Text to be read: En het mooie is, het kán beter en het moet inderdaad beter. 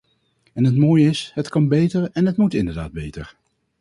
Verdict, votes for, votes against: rejected, 0, 4